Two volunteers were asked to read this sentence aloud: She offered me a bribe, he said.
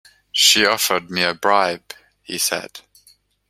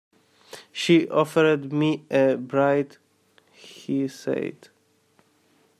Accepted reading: first